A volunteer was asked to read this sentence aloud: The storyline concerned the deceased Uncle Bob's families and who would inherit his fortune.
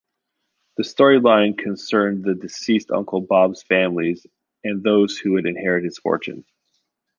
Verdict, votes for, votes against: rejected, 1, 2